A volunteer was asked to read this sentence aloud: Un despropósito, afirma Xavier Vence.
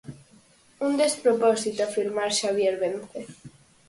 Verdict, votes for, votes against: rejected, 2, 4